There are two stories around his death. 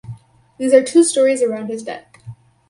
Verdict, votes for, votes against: rejected, 2, 2